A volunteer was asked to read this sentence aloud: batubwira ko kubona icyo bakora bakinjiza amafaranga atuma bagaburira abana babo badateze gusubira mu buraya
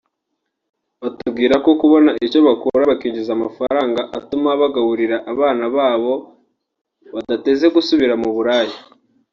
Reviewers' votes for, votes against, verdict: 1, 2, rejected